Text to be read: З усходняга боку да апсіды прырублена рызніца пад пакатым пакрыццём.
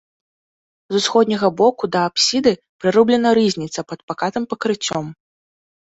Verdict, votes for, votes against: accepted, 2, 0